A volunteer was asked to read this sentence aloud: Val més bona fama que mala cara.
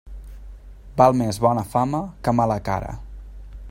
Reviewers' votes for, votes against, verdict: 3, 0, accepted